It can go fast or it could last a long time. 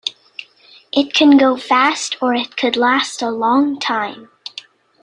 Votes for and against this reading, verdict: 2, 0, accepted